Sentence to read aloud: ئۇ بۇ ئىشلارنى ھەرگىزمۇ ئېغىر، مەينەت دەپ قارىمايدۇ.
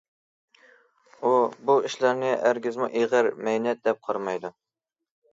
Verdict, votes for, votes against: accepted, 2, 0